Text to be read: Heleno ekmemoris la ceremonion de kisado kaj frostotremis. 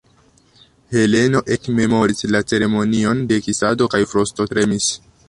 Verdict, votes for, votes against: rejected, 0, 2